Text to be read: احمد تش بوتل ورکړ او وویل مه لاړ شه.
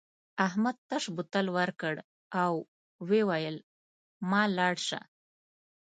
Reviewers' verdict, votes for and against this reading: accepted, 2, 0